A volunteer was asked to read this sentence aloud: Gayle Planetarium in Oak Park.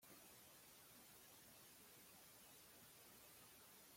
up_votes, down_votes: 0, 2